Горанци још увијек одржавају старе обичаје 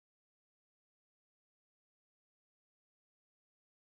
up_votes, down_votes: 0, 2